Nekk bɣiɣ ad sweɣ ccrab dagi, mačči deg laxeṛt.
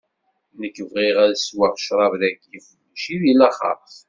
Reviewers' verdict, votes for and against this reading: accepted, 2, 0